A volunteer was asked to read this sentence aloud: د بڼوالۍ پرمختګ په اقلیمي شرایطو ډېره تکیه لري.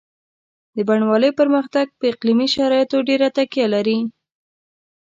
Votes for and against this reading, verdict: 2, 0, accepted